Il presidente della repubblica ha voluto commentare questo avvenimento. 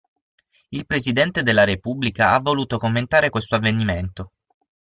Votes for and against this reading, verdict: 6, 0, accepted